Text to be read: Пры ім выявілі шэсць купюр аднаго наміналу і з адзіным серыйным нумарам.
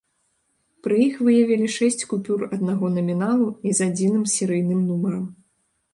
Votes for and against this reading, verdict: 0, 2, rejected